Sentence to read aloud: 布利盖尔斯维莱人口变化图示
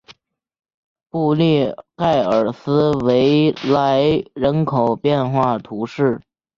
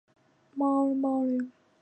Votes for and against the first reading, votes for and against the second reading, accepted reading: 2, 0, 0, 2, first